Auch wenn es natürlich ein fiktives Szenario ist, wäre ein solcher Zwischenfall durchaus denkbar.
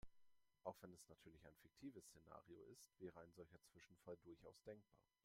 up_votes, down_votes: 1, 2